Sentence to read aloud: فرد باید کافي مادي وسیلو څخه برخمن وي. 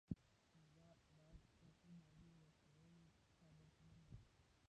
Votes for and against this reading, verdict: 1, 2, rejected